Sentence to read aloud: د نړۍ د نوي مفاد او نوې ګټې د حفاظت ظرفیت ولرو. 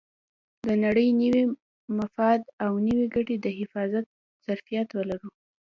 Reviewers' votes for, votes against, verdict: 2, 0, accepted